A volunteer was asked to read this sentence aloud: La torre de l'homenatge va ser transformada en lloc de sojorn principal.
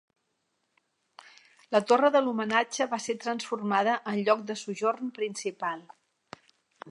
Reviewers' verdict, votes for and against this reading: accepted, 3, 0